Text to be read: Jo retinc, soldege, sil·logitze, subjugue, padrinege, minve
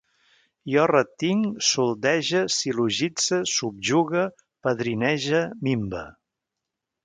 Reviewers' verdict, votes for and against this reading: accepted, 2, 0